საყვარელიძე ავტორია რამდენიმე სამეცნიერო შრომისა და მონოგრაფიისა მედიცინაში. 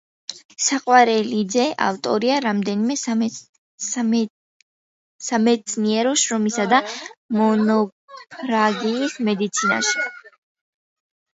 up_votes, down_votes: 0, 2